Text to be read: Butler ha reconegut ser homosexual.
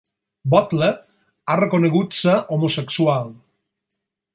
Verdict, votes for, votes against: accepted, 4, 0